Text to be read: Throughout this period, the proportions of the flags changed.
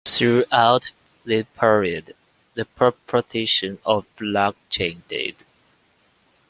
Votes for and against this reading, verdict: 1, 2, rejected